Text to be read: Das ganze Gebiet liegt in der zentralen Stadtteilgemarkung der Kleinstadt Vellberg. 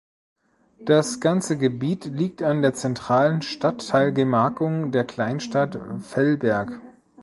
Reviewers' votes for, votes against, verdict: 0, 2, rejected